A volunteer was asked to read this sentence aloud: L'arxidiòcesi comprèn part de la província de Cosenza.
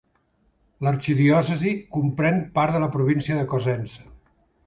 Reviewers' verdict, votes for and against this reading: accepted, 2, 0